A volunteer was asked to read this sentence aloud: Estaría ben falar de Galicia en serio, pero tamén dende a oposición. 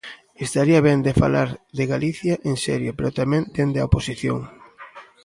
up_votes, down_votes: 0, 2